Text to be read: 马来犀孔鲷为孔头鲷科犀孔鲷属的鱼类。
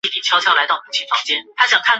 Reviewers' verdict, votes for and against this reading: rejected, 0, 2